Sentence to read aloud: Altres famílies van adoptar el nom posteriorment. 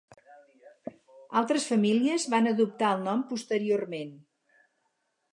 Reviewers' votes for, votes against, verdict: 4, 0, accepted